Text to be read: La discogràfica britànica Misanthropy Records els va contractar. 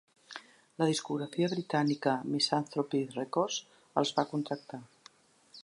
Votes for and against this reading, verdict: 2, 1, accepted